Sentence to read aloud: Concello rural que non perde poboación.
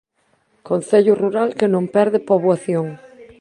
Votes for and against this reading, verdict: 1, 2, rejected